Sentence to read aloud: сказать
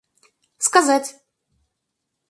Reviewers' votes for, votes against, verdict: 4, 0, accepted